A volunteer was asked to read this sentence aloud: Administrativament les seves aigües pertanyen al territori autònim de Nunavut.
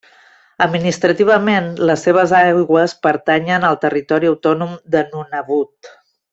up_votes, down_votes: 2, 0